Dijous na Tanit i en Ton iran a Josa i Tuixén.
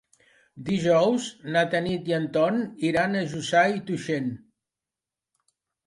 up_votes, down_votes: 0, 2